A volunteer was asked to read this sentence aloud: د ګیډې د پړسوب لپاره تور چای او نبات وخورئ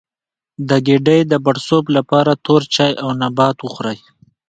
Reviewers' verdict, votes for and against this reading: rejected, 1, 2